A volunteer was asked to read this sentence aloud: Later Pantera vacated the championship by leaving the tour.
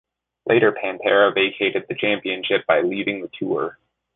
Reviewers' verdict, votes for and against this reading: accepted, 2, 0